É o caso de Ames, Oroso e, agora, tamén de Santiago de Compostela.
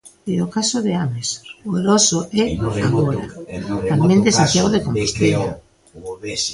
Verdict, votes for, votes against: rejected, 0, 2